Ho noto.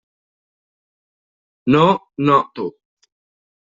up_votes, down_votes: 0, 2